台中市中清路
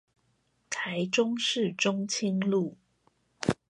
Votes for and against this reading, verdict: 2, 0, accepted